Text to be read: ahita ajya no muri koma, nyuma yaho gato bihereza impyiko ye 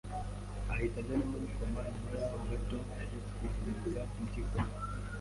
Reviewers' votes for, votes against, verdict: 1, 2, rejected